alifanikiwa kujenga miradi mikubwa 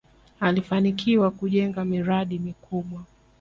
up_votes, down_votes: 2, 0